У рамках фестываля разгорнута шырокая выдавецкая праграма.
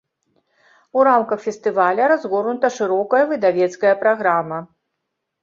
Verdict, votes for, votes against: accepted, 2, 0